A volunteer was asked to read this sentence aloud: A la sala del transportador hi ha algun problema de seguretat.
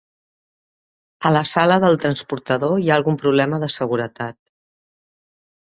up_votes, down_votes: 3, 0